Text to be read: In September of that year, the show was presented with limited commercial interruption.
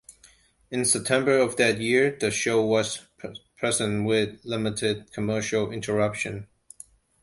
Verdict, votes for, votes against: rejected, 1, 2